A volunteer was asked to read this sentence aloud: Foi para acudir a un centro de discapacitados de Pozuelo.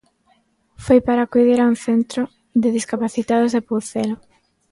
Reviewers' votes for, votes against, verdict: 2, 1, accepted